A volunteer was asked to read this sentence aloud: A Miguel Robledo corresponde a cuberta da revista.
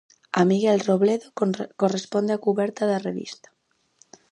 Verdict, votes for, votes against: rejected, 2, 4